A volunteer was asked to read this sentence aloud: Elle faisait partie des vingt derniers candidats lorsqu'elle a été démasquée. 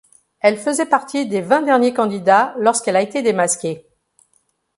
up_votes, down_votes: 2, 0